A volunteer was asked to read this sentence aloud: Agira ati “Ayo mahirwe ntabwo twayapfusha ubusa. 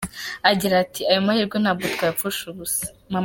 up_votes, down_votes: 2, 1